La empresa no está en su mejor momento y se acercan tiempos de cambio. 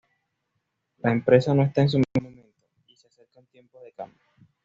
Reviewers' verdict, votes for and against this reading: rejected, 1, 2